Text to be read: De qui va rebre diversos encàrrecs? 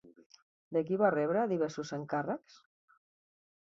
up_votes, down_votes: 3, 0